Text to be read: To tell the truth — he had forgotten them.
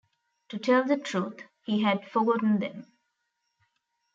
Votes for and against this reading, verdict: 2, 0, accepted